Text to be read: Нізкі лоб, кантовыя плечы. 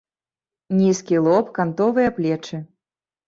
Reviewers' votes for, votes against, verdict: 2, 0, accepted